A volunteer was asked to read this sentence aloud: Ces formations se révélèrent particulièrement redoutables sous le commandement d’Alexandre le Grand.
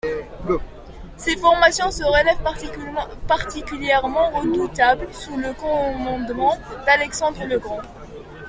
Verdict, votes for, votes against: rejected, 0, 2